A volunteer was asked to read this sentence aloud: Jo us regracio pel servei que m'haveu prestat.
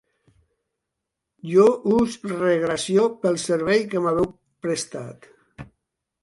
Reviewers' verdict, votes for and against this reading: rejected, 1, 2